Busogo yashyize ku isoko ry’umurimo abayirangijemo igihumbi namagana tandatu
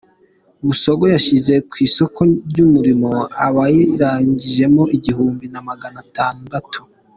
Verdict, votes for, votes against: accepted, 3, 0